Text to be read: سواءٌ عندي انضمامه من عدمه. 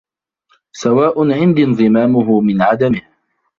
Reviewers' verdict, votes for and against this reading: rejected, 1, 2